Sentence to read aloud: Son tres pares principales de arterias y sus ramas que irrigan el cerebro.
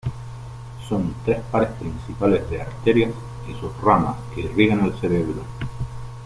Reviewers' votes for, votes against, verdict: 0, 2, rejected